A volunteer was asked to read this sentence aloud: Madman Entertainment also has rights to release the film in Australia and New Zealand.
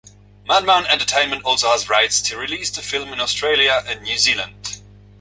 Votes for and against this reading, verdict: 2, 0, accepted